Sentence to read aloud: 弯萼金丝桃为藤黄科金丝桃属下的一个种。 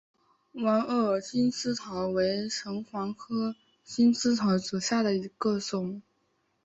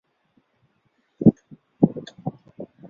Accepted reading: first